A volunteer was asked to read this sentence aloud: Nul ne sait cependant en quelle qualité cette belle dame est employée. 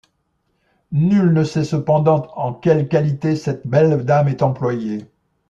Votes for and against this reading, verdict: 2, 0, accepted